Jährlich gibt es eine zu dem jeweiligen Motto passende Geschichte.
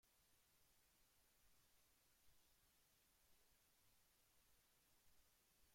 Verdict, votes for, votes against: rejected, 0, 2